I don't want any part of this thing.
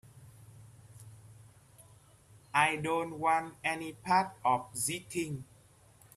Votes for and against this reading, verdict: 1, 2, rejected